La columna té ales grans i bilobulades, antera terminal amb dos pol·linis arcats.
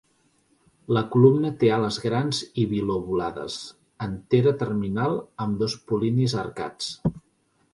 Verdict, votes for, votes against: accepted, 2, 0